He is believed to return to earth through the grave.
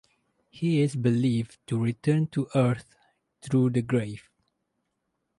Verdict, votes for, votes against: accepted, 4, 0